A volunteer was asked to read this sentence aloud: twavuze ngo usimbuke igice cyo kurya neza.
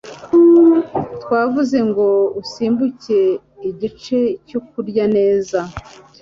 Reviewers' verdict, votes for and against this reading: accepted, 3, 0